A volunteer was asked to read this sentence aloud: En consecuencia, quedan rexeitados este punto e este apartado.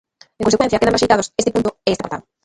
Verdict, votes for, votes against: rejected, 0, 2